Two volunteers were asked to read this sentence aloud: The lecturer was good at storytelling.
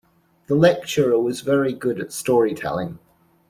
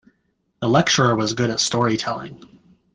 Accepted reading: second